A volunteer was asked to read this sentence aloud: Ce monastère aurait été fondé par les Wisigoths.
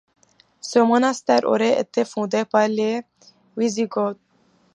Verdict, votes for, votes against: accepted, 2, 0